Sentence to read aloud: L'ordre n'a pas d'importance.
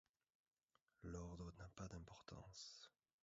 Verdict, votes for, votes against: rejected, 0, 2